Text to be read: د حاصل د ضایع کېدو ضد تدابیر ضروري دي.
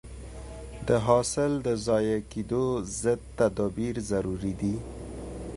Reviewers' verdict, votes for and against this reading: accepted, 2, 0